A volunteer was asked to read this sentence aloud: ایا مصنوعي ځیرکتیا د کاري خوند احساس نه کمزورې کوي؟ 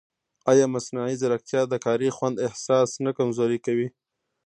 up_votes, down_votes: 0, 2